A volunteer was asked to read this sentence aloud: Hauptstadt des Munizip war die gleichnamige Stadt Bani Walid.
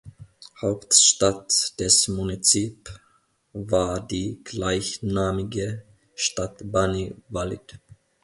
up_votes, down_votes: 2, 0